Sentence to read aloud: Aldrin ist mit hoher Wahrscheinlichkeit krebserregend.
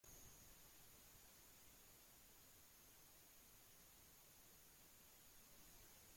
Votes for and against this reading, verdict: 0, 2, rejected